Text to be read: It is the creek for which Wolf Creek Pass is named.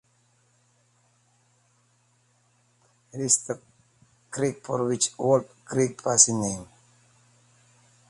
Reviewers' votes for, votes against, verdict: 1, 2, rejected